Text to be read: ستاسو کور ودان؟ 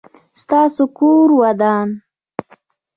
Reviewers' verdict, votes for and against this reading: rejected, 0, 2